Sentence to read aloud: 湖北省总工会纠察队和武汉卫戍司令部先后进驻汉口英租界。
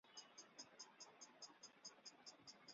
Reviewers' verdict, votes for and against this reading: rejected, 1, 2